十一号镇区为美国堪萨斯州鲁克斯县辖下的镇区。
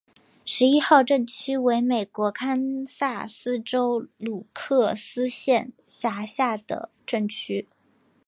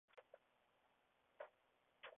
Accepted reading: first